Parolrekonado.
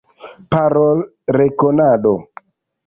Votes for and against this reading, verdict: 2, 0, accepted